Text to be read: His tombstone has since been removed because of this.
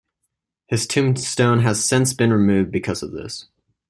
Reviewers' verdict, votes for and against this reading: accepted, 2, 0